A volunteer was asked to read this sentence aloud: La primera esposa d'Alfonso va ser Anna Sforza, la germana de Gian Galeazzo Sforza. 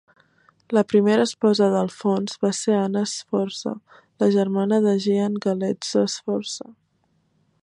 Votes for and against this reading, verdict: 2, 1, accepted